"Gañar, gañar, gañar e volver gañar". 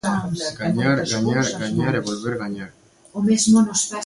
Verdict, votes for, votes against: rejected, 0, 2